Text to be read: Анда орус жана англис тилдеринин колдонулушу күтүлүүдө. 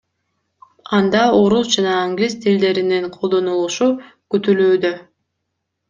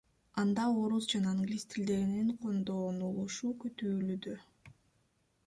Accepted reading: first